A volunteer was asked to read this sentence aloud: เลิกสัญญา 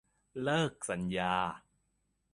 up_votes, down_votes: 2, 0